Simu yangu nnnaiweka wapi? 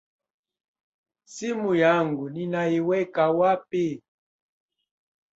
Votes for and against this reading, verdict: 2, 0, accepted